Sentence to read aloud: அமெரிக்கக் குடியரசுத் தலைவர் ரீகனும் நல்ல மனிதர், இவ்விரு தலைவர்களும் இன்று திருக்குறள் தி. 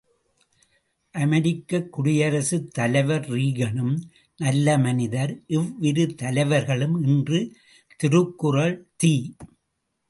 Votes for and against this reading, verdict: 2, 0, accepted